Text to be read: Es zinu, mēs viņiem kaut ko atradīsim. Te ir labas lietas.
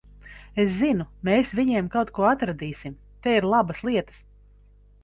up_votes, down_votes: 3, 0